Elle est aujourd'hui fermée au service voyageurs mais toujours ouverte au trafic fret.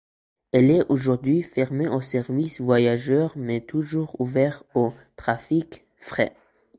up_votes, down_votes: 2, 0